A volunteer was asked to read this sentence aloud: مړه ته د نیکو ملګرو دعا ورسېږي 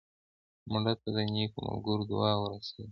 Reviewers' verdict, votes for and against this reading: accepted, 2, 1